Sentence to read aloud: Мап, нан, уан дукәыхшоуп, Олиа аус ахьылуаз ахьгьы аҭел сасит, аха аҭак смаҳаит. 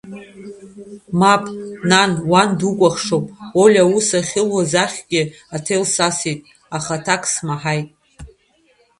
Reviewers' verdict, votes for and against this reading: rejected, 1, 2